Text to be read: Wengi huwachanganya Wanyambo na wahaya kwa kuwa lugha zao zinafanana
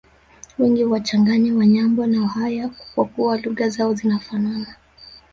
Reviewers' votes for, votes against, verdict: 0, 2, rejected